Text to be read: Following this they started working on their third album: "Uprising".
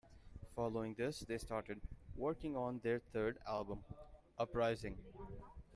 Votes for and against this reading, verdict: 2, 1, accepted